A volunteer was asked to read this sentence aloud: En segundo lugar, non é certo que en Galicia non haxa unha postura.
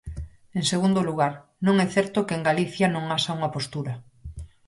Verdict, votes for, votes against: accepted, 4, 0